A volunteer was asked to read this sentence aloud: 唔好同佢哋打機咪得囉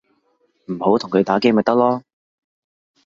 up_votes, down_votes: 0, 2